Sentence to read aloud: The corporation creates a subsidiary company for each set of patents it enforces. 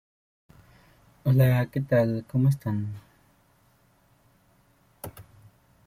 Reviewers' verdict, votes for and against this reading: rejected, 1, 2